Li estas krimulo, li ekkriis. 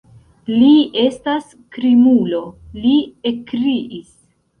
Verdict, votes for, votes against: rejected, 1, 2